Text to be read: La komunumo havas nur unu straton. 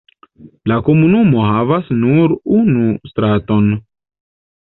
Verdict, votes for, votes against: rejected, 1, 2